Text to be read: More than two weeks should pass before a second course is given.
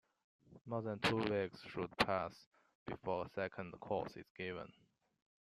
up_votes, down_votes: 0, 2